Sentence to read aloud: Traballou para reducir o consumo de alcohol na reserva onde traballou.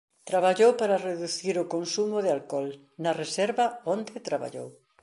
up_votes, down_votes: 2, 0